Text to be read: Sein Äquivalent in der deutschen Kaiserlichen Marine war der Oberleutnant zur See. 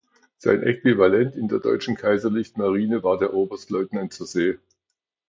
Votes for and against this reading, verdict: 1, 2, rejected